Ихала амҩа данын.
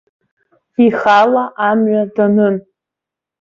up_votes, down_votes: 2, 0